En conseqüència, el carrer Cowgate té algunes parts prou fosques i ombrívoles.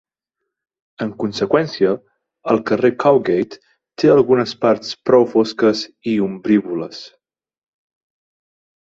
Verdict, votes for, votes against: accepted, 4, 0